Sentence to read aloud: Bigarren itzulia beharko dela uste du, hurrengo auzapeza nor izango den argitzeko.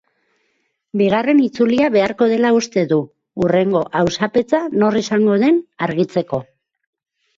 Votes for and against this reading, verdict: 2, 4, rejected